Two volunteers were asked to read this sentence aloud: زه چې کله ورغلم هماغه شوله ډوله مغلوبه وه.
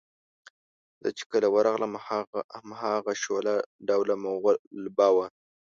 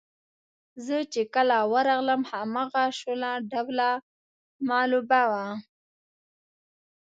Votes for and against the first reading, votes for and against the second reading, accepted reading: 1, 2, 2, 0, second